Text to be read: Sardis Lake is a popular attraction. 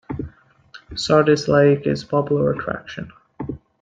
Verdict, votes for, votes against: accepted, 2, 0